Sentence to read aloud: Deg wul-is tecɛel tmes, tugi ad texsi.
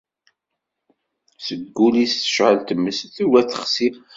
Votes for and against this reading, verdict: 2, 1, accepted